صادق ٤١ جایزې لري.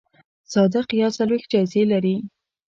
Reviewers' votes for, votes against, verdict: 0, 2, rejected